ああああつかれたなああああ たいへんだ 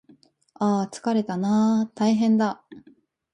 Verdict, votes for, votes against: rejected, 1, 2